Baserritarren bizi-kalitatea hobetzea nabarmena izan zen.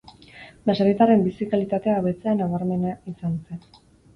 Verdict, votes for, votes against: accepted, 4, 0